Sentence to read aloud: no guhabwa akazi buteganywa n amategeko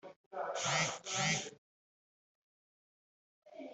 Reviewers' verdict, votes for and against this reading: rejected, 1, 2